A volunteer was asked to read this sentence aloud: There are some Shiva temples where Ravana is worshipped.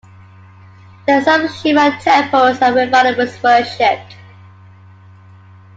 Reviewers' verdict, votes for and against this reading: accepted, 2, 1